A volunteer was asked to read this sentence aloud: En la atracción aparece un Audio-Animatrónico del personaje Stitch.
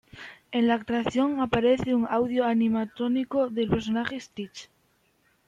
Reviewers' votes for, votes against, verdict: 2, 0, accepted